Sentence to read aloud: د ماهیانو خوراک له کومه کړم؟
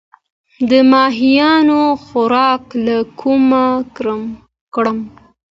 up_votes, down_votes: 2, 0